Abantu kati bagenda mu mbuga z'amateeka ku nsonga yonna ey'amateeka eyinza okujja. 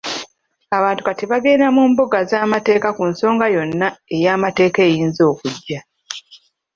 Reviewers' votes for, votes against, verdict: 0, 2, rejected